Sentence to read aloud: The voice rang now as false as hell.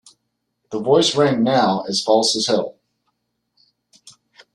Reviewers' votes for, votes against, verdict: 2, 0, accepted